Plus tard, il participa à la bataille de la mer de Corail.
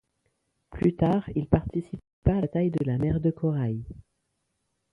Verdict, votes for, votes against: rejected, 0, 2